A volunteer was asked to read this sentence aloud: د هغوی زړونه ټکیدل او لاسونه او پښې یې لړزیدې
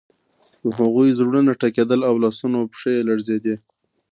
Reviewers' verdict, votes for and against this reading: accepted, 2, 0